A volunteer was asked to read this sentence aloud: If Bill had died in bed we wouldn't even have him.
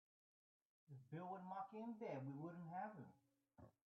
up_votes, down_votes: 0, 2